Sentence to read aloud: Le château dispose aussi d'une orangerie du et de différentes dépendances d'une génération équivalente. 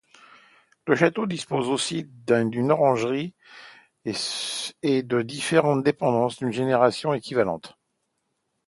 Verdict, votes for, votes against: rejected, 0, 2